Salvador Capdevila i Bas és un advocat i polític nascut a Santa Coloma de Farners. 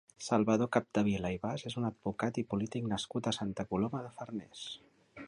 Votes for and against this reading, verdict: 4, 0, accepted